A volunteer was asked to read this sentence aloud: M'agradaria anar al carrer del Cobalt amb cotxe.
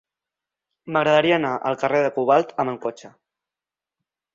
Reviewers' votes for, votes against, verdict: 0, 2, rejected